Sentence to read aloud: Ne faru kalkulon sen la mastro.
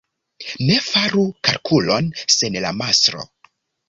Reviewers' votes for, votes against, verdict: 1, 2, rejected